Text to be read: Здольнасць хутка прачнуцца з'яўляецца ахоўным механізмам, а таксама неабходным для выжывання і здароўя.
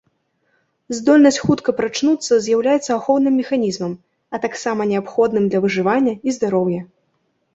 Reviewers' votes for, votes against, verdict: 2, 0, accepted